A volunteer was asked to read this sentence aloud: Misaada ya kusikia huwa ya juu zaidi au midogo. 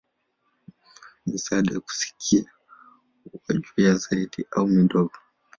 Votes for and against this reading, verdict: 1, 2, rejected